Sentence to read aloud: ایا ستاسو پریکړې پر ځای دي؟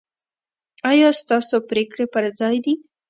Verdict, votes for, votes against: accepted, 2, 0